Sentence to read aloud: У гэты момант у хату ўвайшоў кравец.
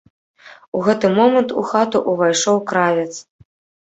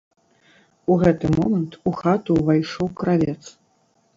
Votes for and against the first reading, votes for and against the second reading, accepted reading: 0, 2, 2, 0, second